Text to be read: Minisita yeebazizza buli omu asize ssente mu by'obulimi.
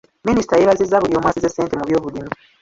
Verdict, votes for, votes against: rejected, 0, 2